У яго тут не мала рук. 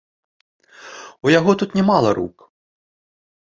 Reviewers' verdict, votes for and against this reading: accepted, 2, 0